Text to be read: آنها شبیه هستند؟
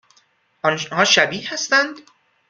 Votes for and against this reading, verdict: 2, 0, accepted